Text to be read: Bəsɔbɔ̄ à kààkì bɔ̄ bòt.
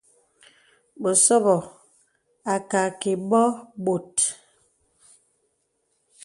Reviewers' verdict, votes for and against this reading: accepted, 2, 0